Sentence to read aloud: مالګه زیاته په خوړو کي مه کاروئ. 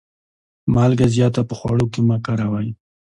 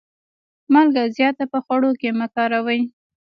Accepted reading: first